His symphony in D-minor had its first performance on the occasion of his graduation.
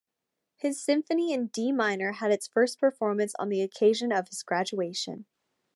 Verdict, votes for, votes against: accepted, 2, 0